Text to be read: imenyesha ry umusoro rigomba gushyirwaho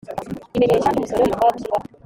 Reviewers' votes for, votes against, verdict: 1, 2, rejected